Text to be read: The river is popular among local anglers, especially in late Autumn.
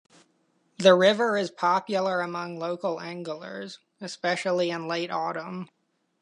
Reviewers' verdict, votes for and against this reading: accepted, 2, 0